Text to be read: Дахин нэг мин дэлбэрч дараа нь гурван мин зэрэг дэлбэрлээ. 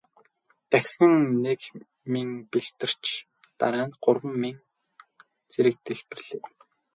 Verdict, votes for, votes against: rejected, 0, 2